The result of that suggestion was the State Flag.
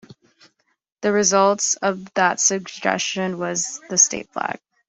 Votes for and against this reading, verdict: 0, 2, rejected